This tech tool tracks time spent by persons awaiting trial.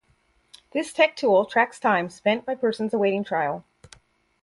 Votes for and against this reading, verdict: 4, 0, accepted